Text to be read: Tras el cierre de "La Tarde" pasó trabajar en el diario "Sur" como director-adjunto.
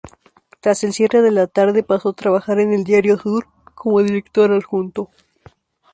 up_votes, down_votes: 2, 0